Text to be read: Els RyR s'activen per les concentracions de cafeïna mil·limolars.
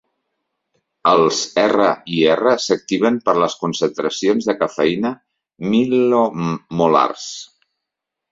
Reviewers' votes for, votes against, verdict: 0, 2, rejected